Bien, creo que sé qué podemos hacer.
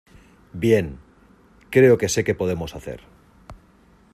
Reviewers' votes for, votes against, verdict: 2, 0, accepted